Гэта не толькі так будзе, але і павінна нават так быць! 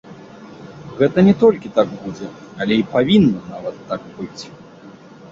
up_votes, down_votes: 2, 0